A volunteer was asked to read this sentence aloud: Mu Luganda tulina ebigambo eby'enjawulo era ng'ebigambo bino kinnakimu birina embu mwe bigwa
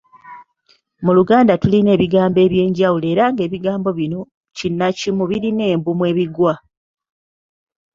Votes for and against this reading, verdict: 2, 0, accepted